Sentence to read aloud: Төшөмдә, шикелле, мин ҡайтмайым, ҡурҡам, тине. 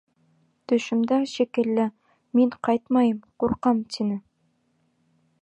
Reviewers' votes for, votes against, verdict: 2, 0, accepted